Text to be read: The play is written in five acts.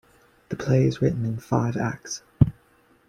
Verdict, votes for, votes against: accepted, 2, 0